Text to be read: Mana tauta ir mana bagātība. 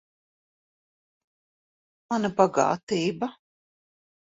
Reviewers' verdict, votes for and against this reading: rejected, 0, 2